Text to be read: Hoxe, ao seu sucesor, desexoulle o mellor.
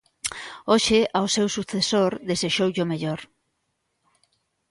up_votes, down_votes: 2, 0